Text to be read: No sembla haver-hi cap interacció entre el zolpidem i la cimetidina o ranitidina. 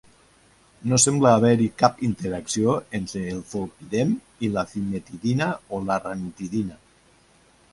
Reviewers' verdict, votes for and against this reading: accepted, 2, 0